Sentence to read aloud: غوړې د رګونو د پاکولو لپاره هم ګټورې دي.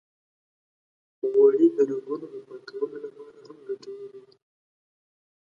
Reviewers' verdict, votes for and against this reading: rejected, 1, 4